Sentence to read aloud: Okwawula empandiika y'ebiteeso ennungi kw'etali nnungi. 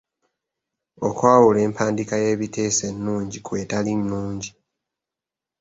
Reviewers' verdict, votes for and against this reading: accepted, 2, 0